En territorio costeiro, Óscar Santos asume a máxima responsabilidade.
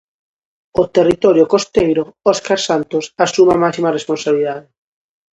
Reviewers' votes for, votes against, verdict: 0, 2, rejected